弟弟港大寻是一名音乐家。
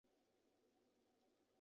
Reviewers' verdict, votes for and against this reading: rejected, 0, 2